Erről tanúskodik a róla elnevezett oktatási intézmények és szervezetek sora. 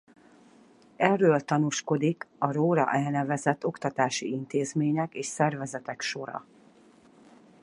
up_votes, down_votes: 4, 0